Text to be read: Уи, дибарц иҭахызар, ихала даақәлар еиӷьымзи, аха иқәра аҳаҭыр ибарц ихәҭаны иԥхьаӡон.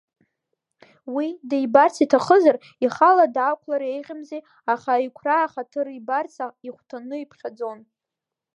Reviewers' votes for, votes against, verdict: 1, 2, rejected